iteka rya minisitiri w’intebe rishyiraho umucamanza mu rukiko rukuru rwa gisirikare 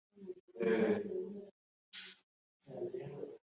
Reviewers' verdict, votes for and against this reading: rejected, 1, 2